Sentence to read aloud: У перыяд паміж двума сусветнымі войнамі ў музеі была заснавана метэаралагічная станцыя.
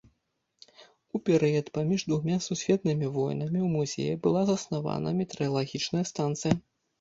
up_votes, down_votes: 0, 2